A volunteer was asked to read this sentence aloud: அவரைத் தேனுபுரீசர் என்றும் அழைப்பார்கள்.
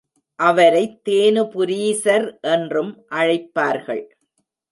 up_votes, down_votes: 2, 0